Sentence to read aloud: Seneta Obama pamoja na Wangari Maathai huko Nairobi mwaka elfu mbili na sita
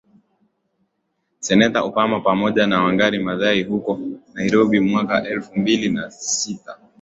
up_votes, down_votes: 12, 0